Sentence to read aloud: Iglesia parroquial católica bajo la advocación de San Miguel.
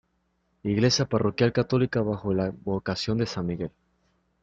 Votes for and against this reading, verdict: 2, 0, accepted